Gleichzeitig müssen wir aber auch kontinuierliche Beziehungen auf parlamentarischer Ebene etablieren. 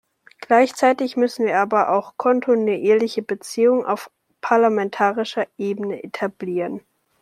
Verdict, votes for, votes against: rejected, 1, 2